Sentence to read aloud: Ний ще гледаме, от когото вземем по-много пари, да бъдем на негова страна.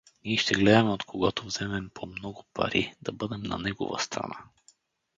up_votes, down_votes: 2, 0